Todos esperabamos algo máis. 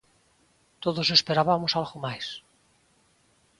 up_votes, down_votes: 2, 0